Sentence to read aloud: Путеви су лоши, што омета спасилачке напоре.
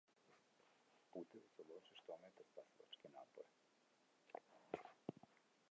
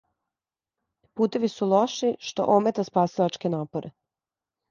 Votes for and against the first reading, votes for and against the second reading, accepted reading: 0, 2, 2, 0, second